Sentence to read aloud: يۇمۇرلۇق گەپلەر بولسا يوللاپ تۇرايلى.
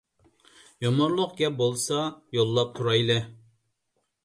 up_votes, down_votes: 1, 2